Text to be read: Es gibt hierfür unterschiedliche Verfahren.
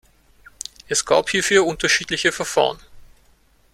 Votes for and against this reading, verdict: 0, 2, rejected